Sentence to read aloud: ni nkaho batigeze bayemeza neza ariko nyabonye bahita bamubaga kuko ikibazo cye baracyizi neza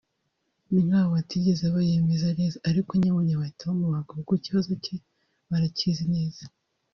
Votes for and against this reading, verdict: 1, 2, rejected